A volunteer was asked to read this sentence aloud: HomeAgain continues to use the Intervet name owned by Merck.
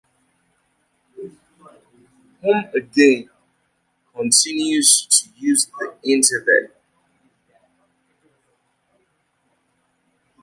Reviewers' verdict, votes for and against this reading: rejected, 0, 2